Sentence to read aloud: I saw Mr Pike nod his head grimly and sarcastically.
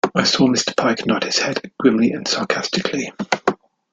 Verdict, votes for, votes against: accepted, 2, 0